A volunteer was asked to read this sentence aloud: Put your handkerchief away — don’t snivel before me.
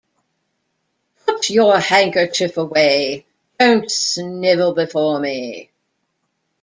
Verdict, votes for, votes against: rejected, 1, 2